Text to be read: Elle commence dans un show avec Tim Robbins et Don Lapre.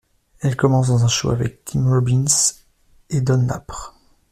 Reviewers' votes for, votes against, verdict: 2, 1, accepted